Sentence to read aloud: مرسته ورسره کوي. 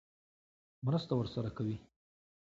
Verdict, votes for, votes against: accepted, 2, 0